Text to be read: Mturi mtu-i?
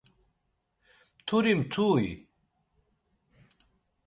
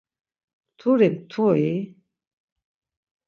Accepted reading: first